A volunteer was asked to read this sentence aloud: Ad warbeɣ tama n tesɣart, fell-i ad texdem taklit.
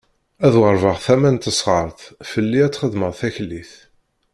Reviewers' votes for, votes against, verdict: 1, 2, rejected